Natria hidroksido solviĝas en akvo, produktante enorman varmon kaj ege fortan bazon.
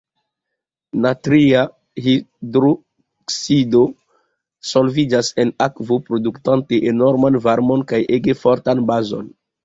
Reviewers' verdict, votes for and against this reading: accepted, 2, 1